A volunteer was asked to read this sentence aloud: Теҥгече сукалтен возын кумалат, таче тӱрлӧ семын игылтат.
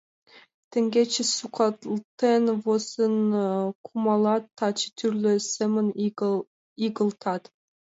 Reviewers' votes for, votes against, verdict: 0, 2, rejected